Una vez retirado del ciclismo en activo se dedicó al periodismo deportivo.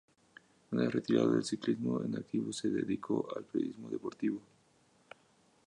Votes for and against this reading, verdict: 2, 2, rejected